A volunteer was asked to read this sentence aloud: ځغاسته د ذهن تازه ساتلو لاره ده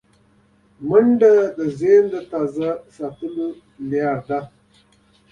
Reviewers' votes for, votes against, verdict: 0, 2, rejected